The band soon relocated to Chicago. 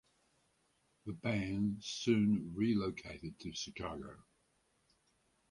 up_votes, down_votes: 4, 0